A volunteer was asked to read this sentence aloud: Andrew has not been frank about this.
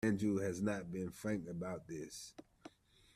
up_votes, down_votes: 2, 1